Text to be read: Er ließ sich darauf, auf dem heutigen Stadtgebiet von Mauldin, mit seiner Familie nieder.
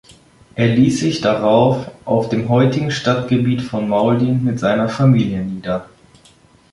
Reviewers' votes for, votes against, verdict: 2, 0, accepted